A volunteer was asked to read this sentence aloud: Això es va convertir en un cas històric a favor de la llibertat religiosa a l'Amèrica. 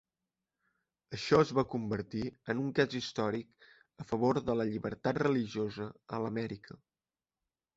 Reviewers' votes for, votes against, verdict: 3, 0, accepted